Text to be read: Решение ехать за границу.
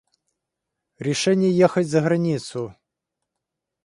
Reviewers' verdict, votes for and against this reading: accepted, 2, 1